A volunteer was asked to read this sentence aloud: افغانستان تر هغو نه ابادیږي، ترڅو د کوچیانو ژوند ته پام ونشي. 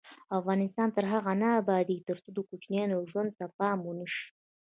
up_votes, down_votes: 0, 2